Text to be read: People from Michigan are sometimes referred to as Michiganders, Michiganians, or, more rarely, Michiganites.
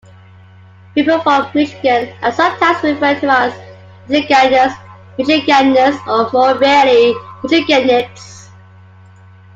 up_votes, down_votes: 2, 0